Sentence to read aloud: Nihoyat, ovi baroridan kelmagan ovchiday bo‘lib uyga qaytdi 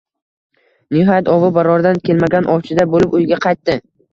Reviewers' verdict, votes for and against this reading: accepted, 2, 0